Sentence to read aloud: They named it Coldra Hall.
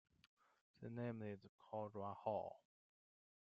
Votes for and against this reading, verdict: 1, 2, rejected